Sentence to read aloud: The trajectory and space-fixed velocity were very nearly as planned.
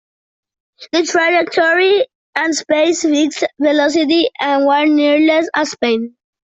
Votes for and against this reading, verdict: 0, 2, rejected